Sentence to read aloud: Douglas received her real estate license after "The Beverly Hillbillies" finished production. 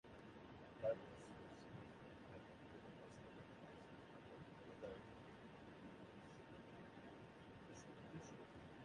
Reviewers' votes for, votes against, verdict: 0, 2, rejected